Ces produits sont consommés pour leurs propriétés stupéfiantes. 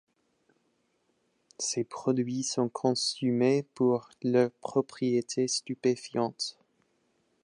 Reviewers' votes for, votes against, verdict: 2, 0, accepted